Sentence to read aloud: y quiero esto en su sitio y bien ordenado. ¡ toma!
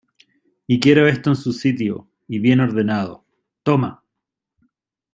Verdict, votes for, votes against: accepted, 2, 0